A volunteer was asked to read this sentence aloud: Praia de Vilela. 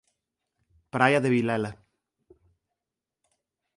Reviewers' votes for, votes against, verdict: 2, 0, accepted